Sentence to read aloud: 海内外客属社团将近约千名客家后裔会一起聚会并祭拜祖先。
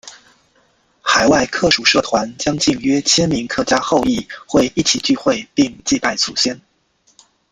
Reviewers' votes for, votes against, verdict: 0, 2, rejected